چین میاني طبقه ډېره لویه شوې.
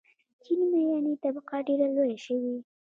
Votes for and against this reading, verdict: 1, 2, rejected